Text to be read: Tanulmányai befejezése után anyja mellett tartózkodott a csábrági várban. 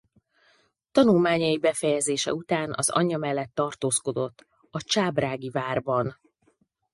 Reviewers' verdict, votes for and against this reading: rejected, 0, 4